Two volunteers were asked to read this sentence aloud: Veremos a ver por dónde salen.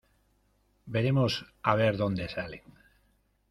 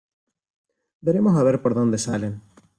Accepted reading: second